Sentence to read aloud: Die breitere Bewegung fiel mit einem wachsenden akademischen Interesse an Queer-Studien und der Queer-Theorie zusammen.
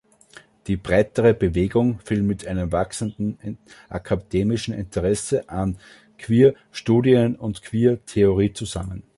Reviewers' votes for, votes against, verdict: 0, 2, rejected